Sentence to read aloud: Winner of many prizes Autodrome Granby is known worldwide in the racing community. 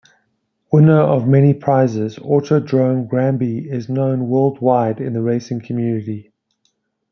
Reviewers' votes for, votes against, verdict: 2, 0, accepted